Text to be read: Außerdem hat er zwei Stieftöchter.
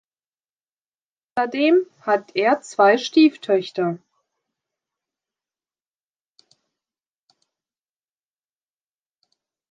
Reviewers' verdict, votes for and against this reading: rejected, 1, 2